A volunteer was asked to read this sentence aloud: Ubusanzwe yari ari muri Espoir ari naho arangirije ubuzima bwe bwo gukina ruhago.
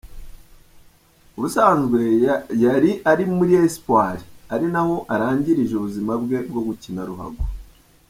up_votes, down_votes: 1, 2